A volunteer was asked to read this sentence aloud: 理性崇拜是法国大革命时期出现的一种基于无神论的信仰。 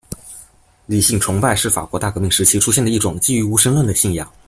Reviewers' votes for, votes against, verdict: 2, 0, accepted